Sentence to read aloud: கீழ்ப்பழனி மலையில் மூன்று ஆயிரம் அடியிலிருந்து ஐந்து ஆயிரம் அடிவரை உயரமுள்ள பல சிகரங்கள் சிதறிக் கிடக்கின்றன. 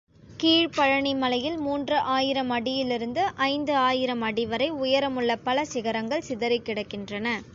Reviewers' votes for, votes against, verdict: 2, 0, accepted